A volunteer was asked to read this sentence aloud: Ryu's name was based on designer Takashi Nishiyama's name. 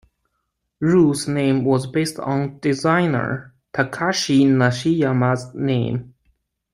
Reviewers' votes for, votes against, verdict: 0, 2, rejected